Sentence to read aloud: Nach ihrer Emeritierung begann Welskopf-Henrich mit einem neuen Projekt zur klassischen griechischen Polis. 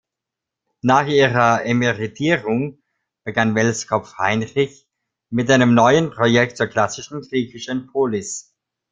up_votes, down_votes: 0, 2